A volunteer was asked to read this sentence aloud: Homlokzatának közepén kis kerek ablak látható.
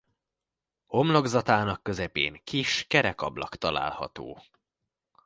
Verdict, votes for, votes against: rejected, 0, 2